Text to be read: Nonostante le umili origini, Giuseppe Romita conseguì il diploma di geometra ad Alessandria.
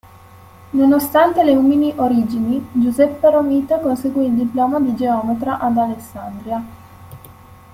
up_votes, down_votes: 1, 2